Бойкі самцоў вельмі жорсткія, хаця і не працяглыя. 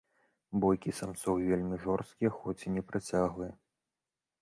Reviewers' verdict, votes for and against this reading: rejected, 0, 2